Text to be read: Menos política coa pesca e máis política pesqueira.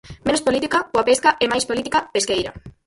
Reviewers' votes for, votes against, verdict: 0, 4, rejected